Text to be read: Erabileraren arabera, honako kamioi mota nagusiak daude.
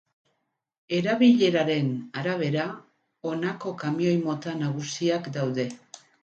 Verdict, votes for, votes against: accepted, 2, 0